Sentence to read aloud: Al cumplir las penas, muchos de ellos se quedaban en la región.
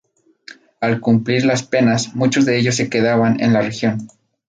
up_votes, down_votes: 2, 0